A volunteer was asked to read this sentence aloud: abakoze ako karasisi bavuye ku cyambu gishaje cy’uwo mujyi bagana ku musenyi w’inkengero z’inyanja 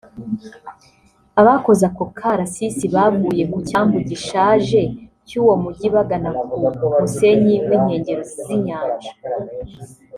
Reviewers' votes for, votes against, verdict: 0, 2, rejected